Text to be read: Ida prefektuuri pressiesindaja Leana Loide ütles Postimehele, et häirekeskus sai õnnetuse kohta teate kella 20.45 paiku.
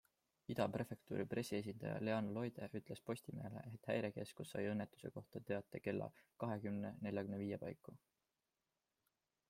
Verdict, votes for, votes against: rejected, 0, 2